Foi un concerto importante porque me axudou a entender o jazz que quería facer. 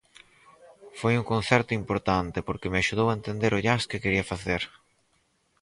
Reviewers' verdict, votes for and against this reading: rejected, 2, 2